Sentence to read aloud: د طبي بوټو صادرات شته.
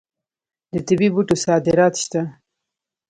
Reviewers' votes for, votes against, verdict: 1, 2, rejected